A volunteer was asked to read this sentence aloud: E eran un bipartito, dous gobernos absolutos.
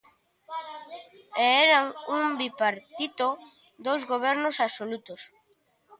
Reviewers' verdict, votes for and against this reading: rejected, 1, 2